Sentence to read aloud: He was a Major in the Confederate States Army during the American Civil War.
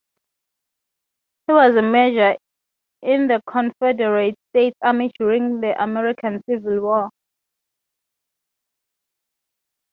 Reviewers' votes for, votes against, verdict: 3, 0, accepted